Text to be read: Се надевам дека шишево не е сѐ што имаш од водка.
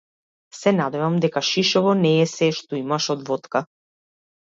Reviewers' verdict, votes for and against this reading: accepted, 2, 0